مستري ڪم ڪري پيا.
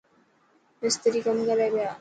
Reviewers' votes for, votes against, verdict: 3, 0, accepted